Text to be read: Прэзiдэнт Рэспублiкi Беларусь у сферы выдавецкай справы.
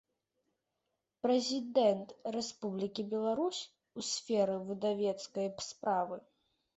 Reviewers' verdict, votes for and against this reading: accepted, 2, 0